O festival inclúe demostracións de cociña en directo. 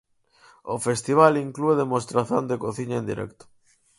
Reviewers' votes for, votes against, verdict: 2, 4, rejected